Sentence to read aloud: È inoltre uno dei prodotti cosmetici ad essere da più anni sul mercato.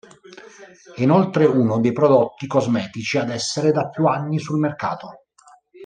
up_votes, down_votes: 1, 2